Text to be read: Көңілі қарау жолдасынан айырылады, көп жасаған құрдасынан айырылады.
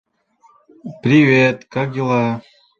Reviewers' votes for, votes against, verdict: 0, 2, rejected